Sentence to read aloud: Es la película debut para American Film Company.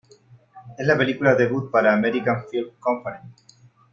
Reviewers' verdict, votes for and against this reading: accepted, 2, 0